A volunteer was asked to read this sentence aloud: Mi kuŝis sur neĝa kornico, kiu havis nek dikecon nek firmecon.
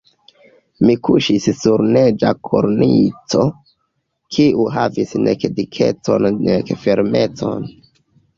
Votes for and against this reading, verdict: 0, 2, rejected